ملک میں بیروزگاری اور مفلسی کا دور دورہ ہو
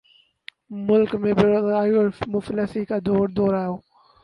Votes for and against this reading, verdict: 0, 2, rejected